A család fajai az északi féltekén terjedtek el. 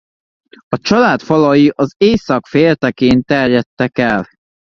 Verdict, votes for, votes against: rejected, 0, 2